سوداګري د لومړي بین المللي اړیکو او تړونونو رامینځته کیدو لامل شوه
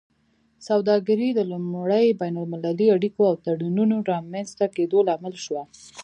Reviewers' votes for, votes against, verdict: 2, 0, accepted